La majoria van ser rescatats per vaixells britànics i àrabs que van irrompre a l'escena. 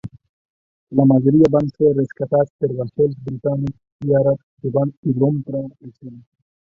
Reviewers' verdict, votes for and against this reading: rejected, 0, 2